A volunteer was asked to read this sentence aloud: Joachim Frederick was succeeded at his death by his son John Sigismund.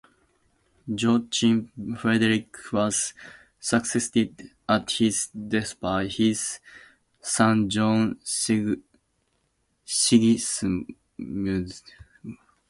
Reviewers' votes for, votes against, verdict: 0, 2, rejected